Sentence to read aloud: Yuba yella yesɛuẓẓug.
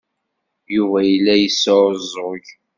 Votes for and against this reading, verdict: 2, 0, accepted